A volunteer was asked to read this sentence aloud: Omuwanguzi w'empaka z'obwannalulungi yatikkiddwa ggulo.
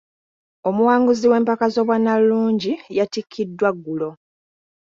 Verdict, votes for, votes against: accepted, 2, 0